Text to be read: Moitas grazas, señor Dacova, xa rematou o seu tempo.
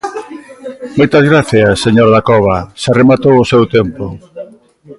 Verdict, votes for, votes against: rejected, 1, 2